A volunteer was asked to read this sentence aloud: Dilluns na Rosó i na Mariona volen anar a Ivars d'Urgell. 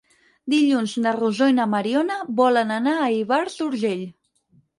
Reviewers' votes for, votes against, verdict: 4, 0, accepted